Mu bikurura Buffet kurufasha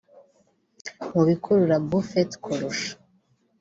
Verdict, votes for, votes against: rejected, 0, 2